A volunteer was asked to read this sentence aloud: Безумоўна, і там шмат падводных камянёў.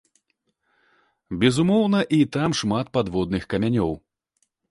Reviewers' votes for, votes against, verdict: 2, 0, accepted